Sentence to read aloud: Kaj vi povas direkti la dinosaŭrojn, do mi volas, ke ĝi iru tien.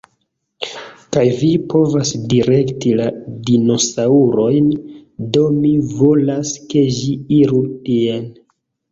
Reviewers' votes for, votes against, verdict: 1, 3, rejected